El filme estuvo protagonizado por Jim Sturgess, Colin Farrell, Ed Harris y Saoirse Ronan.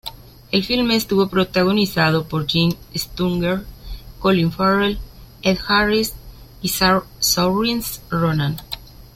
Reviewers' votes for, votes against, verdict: 1, 2, rejected